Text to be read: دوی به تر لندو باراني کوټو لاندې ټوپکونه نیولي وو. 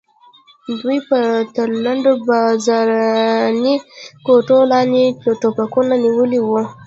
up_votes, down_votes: 1, 2